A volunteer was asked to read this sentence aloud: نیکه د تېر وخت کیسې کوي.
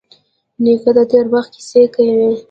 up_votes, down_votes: 1, 2